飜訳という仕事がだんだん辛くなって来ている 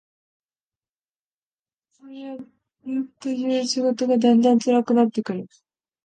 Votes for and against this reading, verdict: 1, 2, rejected